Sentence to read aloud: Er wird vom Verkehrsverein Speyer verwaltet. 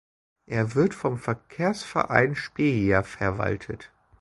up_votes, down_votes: 1, 2